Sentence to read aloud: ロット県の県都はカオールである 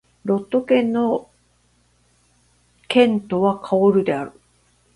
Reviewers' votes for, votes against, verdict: 11, 1, accepted